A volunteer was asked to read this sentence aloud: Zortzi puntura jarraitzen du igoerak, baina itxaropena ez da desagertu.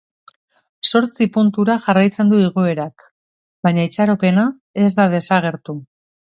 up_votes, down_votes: 3, 0